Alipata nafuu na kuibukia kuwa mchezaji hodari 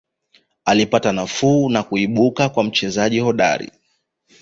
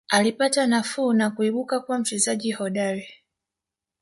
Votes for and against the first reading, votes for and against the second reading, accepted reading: 2, 1, 1, 2, first